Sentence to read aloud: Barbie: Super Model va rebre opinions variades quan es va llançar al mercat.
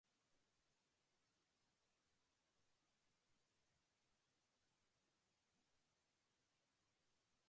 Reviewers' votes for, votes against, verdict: 1, 2, rejected